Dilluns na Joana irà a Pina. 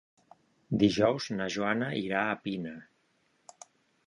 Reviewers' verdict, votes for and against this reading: rejected, 0, 2